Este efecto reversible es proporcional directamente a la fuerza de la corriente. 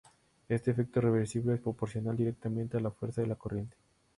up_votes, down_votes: 4, 2